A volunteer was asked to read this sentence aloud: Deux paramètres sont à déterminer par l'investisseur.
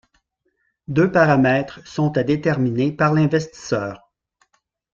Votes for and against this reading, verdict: 2, 0, accepted